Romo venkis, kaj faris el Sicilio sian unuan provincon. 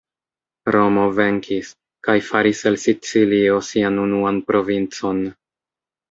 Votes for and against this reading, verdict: 2, 0, accepted